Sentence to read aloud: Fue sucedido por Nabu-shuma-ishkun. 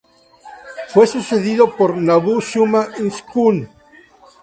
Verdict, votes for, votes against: accepted, 4, 0